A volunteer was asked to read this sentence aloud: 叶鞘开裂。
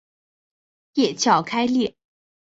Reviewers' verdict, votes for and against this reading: accepted, 2, 0